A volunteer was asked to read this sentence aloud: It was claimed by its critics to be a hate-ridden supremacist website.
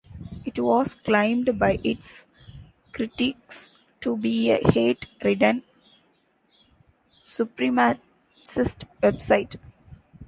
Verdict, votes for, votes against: rejected, 0, 2